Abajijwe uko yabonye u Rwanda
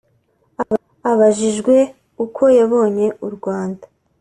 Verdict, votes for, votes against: accepted, 3, 0